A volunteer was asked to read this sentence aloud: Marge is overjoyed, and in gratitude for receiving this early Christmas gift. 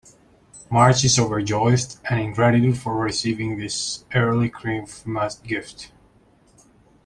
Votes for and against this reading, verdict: 1, 2, rejected